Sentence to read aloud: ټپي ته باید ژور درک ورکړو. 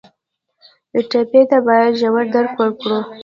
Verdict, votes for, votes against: rejected, 1, 2